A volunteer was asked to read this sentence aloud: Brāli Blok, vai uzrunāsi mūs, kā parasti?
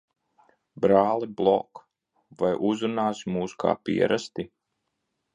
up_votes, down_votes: 0, 2